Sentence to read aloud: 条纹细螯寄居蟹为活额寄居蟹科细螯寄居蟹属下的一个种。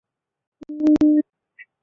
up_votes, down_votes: 0, 5